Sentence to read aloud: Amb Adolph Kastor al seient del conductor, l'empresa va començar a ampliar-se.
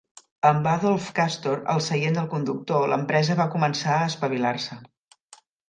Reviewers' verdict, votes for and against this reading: rejected, 0, 2